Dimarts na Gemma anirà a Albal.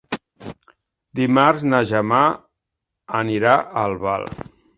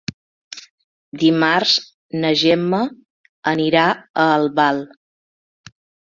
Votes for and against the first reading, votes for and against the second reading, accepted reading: 1, 3, 3, 0, second